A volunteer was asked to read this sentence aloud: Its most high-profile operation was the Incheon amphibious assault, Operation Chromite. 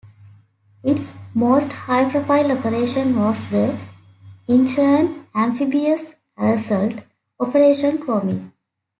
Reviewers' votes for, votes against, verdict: 2, 1, accepted